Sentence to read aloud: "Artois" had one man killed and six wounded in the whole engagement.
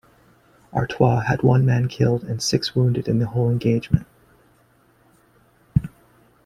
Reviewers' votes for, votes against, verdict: 2, 1, accepted